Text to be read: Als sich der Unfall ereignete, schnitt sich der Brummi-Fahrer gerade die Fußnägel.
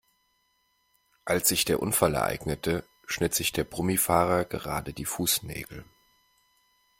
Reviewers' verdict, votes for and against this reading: accepted, 2, 0